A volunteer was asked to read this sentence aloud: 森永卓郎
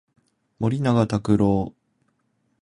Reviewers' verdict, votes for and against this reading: accepted, 2, 0